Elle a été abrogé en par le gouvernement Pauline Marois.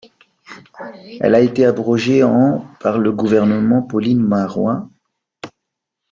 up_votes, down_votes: 1, 2